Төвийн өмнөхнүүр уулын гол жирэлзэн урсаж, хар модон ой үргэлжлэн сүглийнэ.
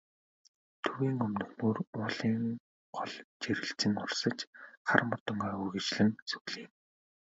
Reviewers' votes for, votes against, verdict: 4, 1, accepted